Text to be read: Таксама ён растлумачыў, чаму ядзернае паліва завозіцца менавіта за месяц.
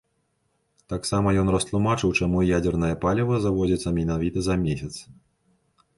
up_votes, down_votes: 3, 0